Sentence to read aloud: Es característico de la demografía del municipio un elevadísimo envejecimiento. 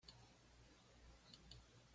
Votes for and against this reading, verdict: 1, 2, rejected